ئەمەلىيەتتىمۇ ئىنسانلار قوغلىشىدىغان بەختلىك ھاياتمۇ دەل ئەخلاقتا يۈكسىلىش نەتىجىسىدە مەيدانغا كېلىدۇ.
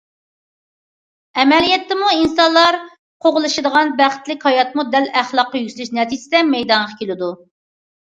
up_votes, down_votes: 2, 0